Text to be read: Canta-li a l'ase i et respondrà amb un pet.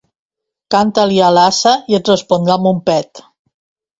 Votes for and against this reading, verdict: 1, 2, rejected